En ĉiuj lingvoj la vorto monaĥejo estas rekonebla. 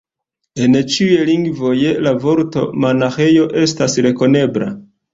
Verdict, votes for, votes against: accepted, 2, 0